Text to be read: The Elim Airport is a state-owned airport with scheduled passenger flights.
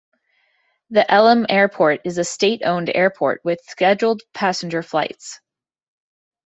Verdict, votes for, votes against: accepted, 2, 0